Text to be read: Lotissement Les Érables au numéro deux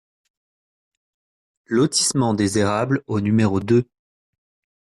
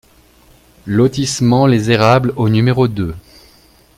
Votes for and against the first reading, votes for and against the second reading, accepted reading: 1, 2, 2, 0, second